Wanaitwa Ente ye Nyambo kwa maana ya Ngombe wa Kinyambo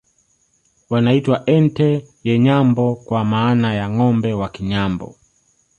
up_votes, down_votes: 1, 2